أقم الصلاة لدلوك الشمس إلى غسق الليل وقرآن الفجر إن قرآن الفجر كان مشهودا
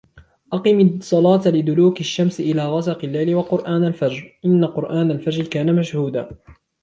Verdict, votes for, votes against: accepted, 2, 0